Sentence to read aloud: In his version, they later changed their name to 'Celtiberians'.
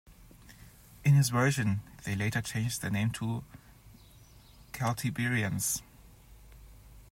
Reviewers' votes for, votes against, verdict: 2, 0, accepted